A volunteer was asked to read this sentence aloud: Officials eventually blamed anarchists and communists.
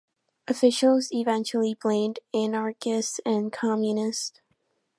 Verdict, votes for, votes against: accepted, 2, 0